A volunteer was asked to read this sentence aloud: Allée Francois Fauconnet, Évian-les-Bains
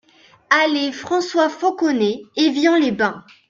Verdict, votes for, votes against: accepted, 2, 0